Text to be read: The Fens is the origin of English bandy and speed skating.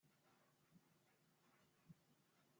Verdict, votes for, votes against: rejected, 0, 2